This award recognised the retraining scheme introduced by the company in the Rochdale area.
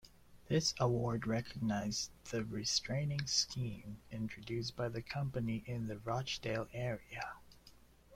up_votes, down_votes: 1, 2